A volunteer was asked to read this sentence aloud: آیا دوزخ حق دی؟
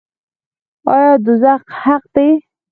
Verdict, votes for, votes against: rejected, 2, 4